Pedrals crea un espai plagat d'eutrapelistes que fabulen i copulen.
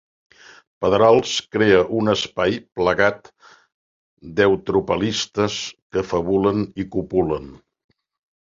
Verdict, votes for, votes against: rejected, 0, 2